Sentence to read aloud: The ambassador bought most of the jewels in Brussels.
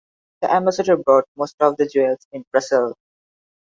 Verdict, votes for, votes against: rejected, 0, 2